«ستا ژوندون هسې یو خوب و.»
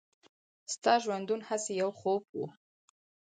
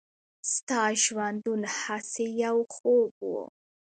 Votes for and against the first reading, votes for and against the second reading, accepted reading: 4, 0, 1, 2, first